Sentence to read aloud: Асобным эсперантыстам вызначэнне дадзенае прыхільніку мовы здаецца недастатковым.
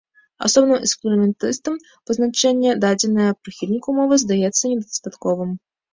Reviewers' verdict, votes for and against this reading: rejected, 1, 2